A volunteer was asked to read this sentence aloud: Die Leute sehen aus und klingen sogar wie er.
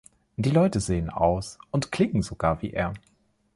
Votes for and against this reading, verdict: 1, 2, rejected